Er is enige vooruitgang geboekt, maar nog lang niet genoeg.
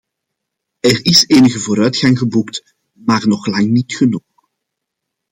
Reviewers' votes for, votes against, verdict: 2, 0, accepted